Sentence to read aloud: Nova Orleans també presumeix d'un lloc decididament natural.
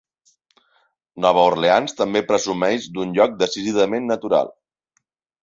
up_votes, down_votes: 3, 1